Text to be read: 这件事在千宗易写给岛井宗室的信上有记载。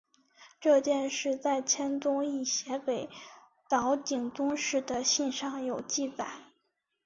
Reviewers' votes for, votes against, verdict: 2, 1, accepted